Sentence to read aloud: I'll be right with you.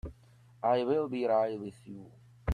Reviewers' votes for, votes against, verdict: 0, 2, rejected